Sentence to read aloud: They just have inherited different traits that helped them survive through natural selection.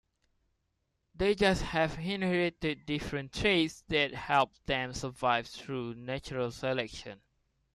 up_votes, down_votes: 1, 2